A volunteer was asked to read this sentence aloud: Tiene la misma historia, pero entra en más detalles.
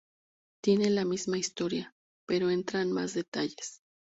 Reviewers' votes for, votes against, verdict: 2, 0, accepted